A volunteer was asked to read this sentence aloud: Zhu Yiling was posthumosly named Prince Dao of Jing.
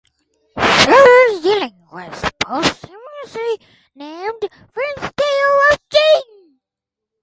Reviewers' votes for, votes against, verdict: 2, 2, rejected